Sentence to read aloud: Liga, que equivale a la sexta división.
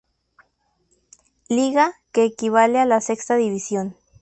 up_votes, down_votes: 2, 0